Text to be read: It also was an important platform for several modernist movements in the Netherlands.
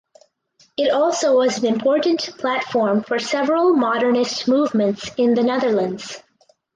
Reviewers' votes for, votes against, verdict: 4, 0, accepted